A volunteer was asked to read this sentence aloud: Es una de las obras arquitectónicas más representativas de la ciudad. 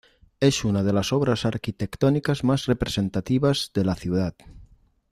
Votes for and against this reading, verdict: 2, 0, accepted